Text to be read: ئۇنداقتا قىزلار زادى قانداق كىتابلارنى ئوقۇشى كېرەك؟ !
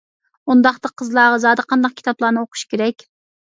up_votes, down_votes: 0, 2